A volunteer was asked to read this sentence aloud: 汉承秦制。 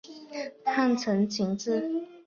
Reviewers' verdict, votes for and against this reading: accepted, 2, 0